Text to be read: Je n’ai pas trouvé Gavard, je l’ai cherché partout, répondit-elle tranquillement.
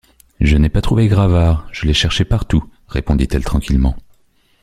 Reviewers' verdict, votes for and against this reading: rejected, 0, 2